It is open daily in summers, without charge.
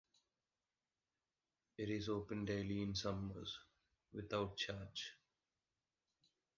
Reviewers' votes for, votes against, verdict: 0, 2, rejected